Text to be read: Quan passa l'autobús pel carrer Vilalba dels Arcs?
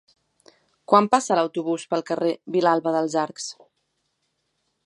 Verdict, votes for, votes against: accepted, 3, 0